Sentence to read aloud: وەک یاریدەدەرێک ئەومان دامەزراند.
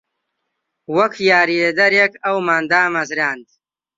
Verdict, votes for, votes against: rejected, 1, 2